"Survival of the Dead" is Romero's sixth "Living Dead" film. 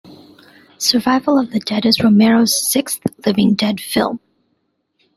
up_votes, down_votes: 2, 0